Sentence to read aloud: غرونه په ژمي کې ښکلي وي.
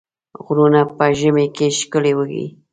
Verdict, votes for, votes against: accepted, 2, 0